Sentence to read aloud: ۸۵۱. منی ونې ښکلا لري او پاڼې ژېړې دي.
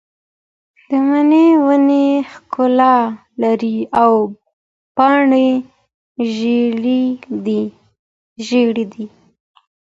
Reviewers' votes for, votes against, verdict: 0, 2, rejected